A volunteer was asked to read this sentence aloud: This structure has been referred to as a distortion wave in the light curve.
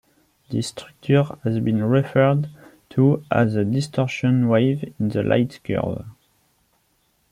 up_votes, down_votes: 2, 0